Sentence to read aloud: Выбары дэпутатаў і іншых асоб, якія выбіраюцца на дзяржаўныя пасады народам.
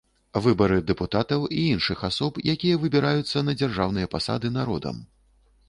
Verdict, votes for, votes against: accepted, 2, 0